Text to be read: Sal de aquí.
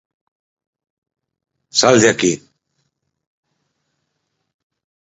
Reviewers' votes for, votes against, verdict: 4, 0, accepted